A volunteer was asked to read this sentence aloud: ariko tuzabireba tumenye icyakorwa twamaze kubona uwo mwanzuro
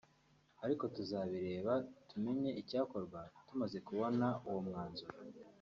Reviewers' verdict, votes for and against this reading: rejected, 1, 2